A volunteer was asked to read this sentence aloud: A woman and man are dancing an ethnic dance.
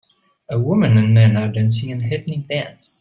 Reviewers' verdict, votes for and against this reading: accepted, 2, 0